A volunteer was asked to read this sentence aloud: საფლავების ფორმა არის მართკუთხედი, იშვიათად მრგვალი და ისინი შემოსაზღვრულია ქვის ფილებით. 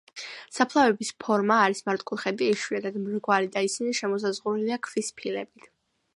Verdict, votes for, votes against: accepted, 2, 0